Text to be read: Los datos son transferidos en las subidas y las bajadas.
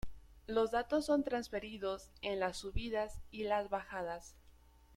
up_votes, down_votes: 2, 0